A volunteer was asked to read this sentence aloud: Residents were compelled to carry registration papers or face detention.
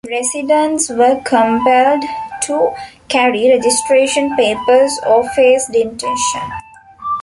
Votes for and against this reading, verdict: 1, 2, rejected